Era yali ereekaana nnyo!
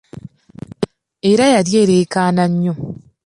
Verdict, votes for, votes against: accepted, 2, 0